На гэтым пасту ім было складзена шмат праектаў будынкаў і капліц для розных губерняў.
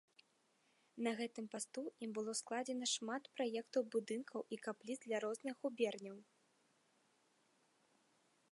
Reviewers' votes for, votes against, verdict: 2, 0, accepted